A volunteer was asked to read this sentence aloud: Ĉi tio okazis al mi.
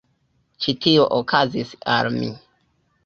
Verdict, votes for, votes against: rejected, 0, 2